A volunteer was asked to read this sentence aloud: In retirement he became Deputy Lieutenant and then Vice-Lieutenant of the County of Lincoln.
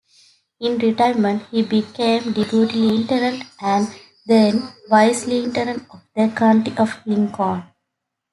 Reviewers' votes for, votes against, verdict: 2, 0, accepted